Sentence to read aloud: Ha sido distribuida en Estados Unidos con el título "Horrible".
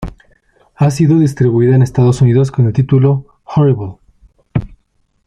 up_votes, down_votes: 1, 2